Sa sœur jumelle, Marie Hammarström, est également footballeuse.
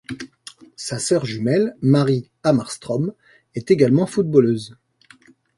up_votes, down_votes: 2, 0